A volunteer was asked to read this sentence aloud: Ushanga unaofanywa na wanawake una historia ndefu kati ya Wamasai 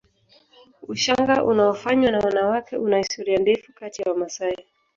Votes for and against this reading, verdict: 2, 0, accepted